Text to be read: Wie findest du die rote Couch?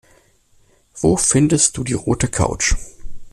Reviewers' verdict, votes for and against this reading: rejected, 1, 2